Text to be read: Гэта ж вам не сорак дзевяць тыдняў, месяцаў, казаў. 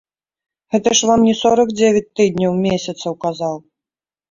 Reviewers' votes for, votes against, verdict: 1, 2, rejected